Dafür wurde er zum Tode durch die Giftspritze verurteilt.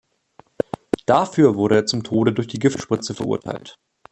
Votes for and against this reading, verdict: 2, 0, accepted